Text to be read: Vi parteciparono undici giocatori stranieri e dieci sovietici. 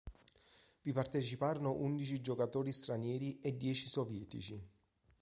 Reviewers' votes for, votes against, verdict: 3, 0, accepted